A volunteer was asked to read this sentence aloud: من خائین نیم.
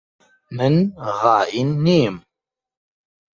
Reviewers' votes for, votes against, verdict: 1, 2, rejected